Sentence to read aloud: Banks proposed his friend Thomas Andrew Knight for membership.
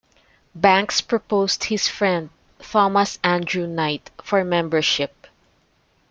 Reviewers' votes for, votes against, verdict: 0, 2, rejected